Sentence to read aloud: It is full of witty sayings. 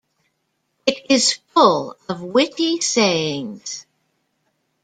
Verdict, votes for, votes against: accepted, 2, 0